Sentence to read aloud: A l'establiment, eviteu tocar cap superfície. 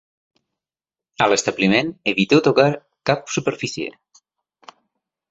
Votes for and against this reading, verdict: 2, 0, accepted